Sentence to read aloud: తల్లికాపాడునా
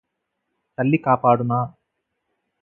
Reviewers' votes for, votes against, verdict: 4, 0, accepted